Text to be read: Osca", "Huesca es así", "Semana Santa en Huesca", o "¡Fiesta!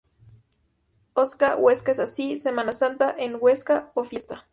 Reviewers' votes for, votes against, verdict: 0, 2, rejected